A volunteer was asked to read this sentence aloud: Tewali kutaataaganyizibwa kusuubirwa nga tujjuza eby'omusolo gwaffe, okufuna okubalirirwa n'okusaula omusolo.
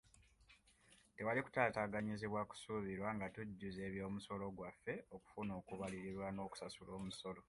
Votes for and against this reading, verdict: 2, 0, accepted